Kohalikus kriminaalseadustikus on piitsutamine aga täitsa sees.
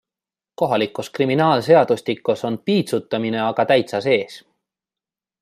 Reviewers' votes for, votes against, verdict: 2, 1, accepted